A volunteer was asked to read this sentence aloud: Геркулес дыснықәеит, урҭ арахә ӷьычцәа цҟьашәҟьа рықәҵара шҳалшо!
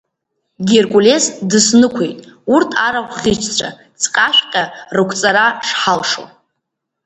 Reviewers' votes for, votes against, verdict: 1, 2, rejected